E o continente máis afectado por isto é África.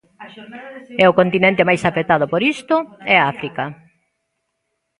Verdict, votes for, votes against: rejected, 0, 2